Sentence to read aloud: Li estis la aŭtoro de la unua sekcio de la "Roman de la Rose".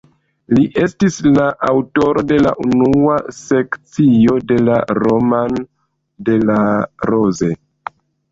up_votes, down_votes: 1, 2